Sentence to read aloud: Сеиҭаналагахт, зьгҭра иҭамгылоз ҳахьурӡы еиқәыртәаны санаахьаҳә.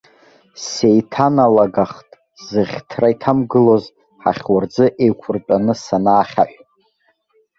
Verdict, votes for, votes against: rejected, 1, 2